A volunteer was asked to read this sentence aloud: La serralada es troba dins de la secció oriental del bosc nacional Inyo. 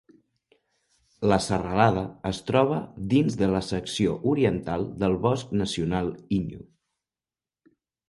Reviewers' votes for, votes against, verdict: 2, 0, accepted